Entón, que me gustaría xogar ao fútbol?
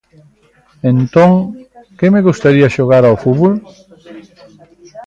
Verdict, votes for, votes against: rejected, 1, 2